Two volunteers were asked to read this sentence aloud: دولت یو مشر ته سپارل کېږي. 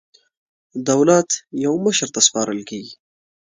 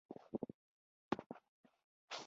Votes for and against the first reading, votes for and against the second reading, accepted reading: 2, 0, 1, 2, first